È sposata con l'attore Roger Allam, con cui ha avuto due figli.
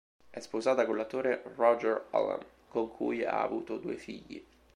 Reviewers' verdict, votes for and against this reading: accepted, 3, 0